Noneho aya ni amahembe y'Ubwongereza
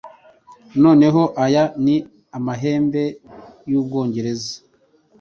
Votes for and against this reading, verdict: 2, 0, accepted